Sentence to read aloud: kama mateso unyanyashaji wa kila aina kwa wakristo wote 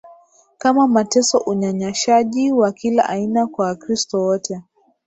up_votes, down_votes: 3, 0